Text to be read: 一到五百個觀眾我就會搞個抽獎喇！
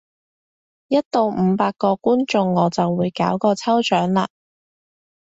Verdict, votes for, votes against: accepted, 2, 0